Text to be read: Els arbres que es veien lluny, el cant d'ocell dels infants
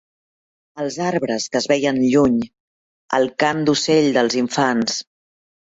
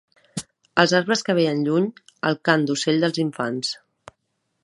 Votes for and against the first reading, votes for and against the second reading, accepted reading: 2, 0, 0, 2, first